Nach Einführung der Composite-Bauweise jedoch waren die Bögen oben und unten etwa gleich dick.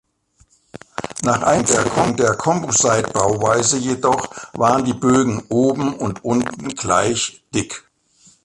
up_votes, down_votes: 0, 2